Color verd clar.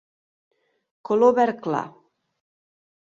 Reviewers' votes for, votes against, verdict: 4, 0, accepted